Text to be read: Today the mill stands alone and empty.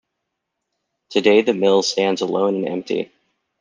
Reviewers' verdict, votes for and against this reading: accepted, 2, 0